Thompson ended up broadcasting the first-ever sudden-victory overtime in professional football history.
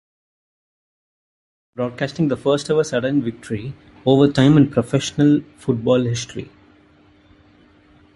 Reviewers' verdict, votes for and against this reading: rejected, 0, 2